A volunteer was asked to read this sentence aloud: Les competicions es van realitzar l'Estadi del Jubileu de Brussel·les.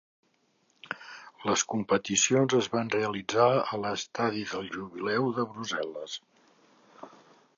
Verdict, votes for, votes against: accepted, 2, 1